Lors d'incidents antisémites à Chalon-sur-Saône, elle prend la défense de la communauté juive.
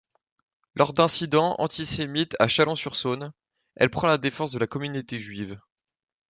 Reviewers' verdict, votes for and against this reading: accepted, 2, 0